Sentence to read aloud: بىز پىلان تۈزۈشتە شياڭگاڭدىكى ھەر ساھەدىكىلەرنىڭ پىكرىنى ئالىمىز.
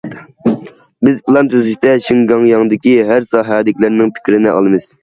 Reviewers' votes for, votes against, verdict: 0, 2, rejected